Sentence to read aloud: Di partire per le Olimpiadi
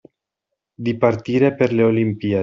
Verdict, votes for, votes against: rejected, 0, 2